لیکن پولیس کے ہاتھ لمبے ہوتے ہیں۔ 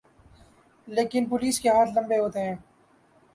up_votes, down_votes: 2, 0